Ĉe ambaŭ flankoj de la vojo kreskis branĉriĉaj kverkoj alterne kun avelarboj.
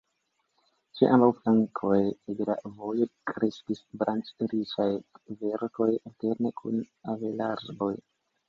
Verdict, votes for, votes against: accepted, 2, 1